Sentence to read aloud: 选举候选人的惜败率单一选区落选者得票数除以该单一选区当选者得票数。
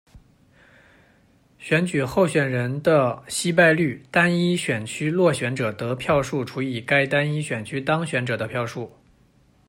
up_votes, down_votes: 0, 2